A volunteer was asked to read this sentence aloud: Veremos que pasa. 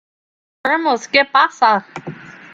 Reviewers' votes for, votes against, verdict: 0, 2, rejected